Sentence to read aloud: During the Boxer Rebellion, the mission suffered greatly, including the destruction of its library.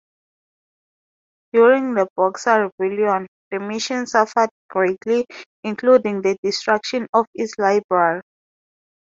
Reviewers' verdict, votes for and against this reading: rejected, 2, 2